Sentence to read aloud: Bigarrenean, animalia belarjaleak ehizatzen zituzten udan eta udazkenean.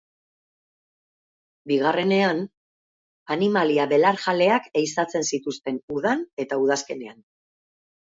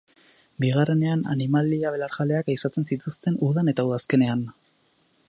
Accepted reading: first